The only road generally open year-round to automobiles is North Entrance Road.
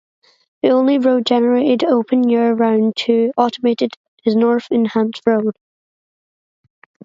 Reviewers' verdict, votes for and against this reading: rejected, 0, 2